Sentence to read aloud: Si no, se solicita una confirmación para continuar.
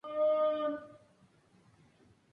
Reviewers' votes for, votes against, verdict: 0, 2, rejected